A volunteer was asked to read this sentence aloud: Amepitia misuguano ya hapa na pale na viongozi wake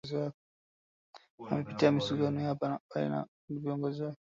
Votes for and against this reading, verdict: 0, 2, rejected